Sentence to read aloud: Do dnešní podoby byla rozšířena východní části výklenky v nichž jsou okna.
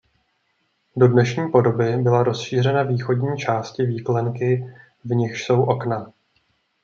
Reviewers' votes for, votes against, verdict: 2, 0, accepted